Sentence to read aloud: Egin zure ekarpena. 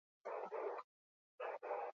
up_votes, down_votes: 0, 4